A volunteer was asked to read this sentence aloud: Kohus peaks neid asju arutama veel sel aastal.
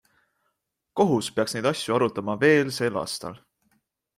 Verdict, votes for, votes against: accepted, 3, 0